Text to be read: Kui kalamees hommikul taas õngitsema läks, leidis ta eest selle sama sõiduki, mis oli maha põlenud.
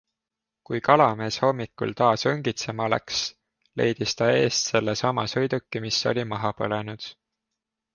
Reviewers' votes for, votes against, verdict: 2, 0, accepted